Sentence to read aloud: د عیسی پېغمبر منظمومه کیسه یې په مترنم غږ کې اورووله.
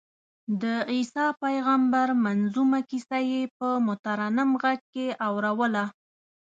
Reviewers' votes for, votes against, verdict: 2, 0, accepted